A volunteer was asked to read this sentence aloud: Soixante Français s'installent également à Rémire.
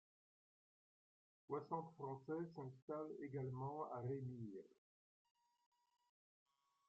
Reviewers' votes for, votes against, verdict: 0, 2, rejected